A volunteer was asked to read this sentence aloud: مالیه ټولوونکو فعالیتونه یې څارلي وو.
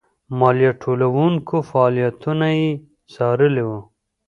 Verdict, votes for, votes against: rejected, 2, 3